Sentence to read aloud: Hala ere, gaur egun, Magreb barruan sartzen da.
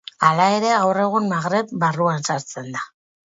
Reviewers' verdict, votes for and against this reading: accepted, 4, 0